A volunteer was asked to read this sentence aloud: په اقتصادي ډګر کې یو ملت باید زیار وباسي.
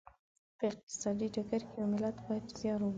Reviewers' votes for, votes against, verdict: 1, 3, rejected